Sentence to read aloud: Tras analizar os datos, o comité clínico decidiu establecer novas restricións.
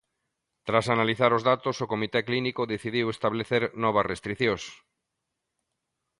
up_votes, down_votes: 2, 0